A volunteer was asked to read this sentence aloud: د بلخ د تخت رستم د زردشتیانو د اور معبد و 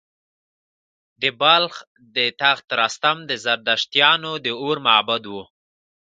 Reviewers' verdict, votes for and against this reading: accepted, 3, 1